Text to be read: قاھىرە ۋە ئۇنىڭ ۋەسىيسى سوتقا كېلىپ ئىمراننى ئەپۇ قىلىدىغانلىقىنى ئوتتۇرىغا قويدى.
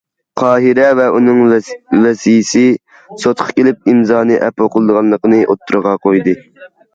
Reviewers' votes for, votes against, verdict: 0, 2, rejected